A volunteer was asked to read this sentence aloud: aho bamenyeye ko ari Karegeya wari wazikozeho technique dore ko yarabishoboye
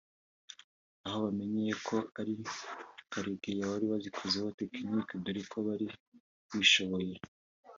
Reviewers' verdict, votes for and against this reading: rejected, 1, 2